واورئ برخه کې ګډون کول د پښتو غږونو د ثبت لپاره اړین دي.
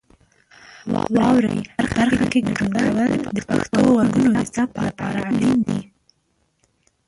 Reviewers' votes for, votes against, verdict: 1, 2, rejected